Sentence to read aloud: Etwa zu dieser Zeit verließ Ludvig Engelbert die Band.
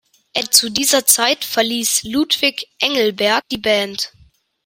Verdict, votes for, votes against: rejected, 1, 2